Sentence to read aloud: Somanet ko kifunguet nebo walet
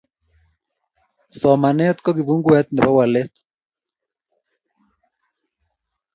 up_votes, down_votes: 2, 0